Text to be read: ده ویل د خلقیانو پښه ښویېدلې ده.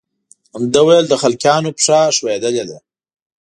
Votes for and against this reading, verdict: 2, 0, accepted